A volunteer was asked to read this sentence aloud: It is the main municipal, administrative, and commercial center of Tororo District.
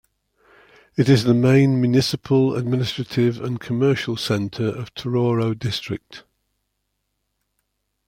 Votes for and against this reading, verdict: 2, 0, accepted